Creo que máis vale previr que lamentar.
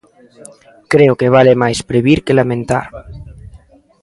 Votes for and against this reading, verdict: 1, 2, rejected